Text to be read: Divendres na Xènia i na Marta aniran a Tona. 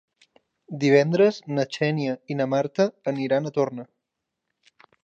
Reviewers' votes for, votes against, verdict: 0, 2, rejected